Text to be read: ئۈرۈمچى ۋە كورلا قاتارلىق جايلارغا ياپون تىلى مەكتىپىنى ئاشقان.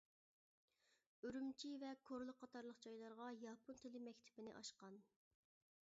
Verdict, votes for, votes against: rejected, 1, 2